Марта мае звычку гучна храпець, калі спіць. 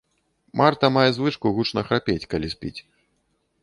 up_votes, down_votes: 3, 0